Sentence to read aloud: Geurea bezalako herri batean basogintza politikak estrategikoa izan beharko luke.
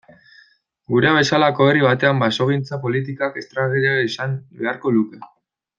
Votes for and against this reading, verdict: 0, 2, rejected